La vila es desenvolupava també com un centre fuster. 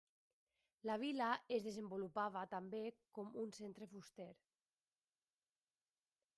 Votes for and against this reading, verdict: 0, 2, rejected